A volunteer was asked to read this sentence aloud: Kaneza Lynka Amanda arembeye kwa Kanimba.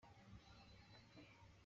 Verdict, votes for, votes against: rejected, 0, 2